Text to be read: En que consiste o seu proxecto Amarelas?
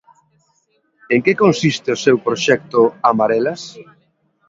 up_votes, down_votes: 2, 0